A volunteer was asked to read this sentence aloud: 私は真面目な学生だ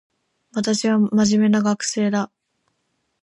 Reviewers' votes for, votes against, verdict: 2, 0, accepted